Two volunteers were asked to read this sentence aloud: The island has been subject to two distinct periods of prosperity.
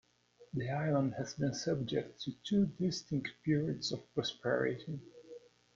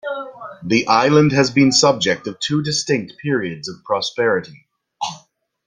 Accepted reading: first